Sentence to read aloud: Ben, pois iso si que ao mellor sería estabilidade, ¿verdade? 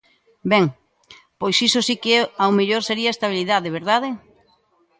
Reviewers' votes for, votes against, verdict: 1, 2, rejected